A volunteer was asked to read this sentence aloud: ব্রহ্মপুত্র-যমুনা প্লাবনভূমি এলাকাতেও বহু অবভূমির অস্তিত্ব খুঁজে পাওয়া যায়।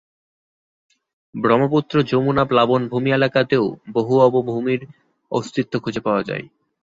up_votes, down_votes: 2, 0